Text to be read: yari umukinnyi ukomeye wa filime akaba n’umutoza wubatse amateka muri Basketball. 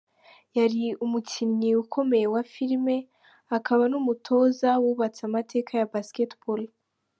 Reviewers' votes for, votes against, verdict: 0, 3, rejected